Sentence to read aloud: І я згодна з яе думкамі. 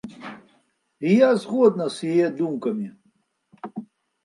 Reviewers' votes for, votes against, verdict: 2, 0, accepted